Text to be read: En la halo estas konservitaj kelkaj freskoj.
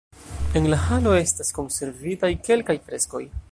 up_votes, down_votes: 1, 2